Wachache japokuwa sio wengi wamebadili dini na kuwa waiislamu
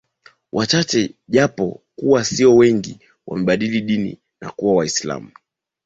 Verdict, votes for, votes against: accepted, 6, 0